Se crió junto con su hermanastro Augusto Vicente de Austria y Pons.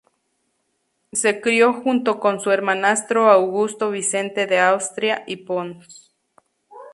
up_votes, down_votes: 2, 0